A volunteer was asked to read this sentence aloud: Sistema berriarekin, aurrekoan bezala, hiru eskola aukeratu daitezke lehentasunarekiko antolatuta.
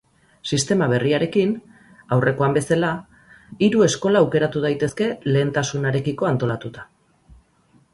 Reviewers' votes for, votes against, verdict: 4, 0, accepted